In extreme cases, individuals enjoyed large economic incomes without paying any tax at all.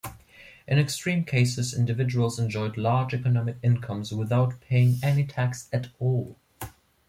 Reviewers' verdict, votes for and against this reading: accepted, 2, 0